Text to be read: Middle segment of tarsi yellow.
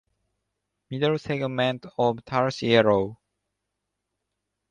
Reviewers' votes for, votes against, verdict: 2, 0, accepted